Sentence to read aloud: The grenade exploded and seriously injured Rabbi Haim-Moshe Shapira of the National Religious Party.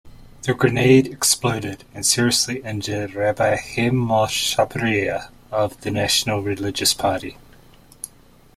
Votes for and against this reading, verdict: 2, 1, accepted